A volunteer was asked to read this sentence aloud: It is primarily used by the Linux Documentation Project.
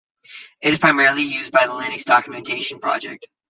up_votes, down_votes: 2, 0